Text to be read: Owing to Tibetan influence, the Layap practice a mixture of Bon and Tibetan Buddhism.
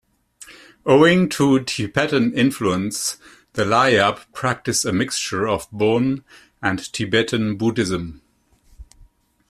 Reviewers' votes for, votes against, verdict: 2, 0, accepted